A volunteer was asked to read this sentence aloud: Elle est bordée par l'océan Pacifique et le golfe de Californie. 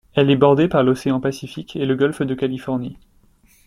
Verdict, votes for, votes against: accepted, 2, 0